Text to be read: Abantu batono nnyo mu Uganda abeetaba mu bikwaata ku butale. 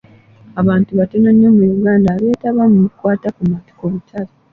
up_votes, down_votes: 2, 0